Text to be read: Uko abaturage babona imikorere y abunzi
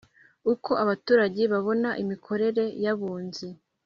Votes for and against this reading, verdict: 4, 0, accepted